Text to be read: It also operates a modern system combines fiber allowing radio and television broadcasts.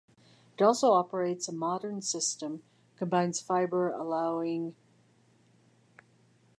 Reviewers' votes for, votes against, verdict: 0, 2, rejected